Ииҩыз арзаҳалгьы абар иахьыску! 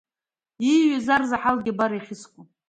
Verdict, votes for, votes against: accepted, 2, 1